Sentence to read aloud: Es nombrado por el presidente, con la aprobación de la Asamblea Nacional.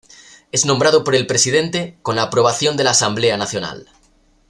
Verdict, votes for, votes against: accepted, 2, 0